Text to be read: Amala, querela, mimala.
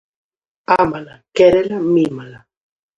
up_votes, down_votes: 0, 2